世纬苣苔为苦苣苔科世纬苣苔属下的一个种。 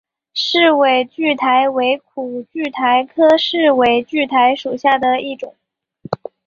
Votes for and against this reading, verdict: 4, 0, accepted